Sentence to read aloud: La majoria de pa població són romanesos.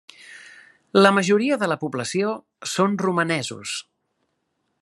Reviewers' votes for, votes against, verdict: 1, 2, rejected